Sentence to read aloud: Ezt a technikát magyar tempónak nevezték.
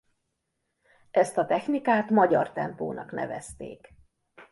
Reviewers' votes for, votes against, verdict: 2, 0, accepted